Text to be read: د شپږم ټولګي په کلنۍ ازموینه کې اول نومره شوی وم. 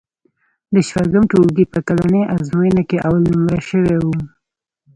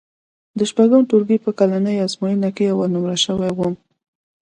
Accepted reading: second